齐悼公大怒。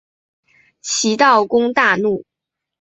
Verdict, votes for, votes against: accepted, 3, 0